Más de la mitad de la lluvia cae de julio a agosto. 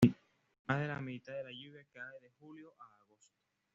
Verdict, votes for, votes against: accepted, 2, 1